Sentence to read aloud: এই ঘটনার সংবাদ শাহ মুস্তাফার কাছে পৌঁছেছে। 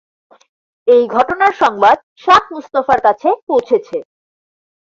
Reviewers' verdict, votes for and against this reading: accepted, 2, 0